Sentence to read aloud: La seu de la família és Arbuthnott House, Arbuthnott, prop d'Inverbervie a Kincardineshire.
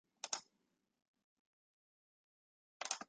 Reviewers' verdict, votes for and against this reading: rejected, 0, 2